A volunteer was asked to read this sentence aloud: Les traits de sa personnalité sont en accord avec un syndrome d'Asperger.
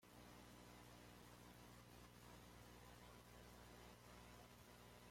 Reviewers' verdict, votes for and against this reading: rejected, 0, 2